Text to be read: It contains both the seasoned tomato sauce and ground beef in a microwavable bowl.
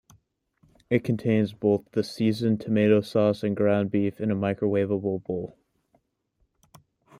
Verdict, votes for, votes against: accepted, 2, 0